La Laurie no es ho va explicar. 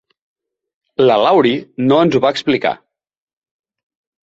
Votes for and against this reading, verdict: 6, 0, accepted